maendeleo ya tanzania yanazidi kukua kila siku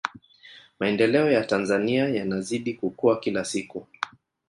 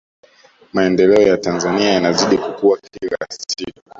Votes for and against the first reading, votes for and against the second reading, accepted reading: 2, 1, 1, 2, first